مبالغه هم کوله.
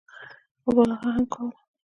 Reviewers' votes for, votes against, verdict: 0, 2, rejected